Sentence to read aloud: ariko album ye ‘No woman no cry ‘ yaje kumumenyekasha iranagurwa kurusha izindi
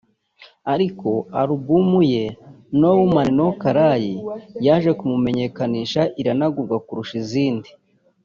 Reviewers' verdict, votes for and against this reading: rejected, 1, 2